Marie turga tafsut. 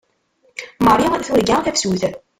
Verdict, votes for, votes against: rejected, 0, 2